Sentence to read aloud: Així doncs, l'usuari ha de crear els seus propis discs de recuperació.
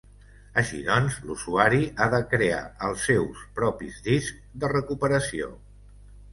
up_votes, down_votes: 2, 0